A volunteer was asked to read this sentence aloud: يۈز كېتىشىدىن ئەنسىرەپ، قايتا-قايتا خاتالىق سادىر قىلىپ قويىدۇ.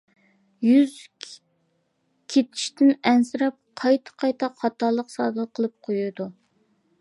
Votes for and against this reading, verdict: 1, 2, rejected